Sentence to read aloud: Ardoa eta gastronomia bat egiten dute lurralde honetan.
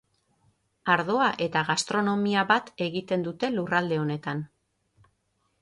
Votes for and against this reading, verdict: 6, 0, accepted